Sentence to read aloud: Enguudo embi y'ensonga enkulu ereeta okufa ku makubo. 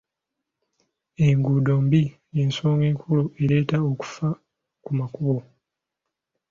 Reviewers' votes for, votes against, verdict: 1, 2, rejected